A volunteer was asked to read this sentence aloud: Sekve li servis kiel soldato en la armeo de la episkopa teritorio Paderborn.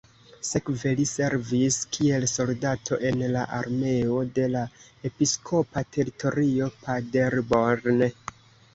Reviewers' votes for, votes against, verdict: 2, 0, accepted